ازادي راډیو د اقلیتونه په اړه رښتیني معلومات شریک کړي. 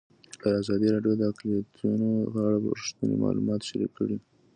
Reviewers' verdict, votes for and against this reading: accepted, 2, 0